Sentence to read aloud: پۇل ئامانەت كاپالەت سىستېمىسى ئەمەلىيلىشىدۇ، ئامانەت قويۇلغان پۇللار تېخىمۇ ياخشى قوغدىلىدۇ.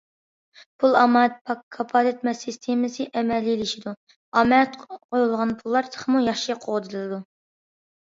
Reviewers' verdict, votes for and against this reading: rejected, 0, 2